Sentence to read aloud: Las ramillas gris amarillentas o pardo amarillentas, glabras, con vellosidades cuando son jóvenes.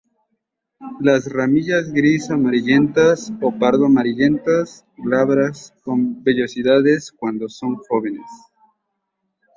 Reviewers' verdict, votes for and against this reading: rejected, 0, 2